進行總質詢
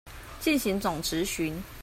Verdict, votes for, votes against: accepted, 2, 0